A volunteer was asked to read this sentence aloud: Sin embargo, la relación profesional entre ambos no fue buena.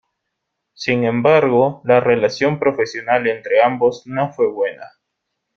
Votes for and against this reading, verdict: 2, 0, accepted